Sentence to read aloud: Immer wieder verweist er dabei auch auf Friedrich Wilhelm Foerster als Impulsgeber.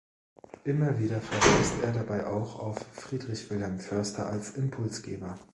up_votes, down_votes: 1, 2